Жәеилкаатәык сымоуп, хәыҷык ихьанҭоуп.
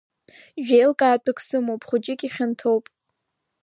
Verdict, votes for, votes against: rejected, 1, 2